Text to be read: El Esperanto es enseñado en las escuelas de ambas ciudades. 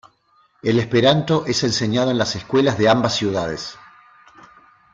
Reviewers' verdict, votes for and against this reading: accepted, 2, 0